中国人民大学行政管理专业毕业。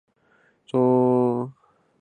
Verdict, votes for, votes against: rejected, 0, 2